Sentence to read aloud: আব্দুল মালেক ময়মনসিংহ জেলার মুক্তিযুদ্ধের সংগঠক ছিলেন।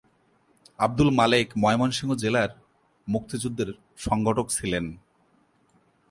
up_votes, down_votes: 2, 0